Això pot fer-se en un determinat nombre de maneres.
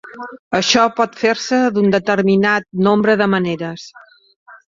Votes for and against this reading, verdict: 2, 0, accepted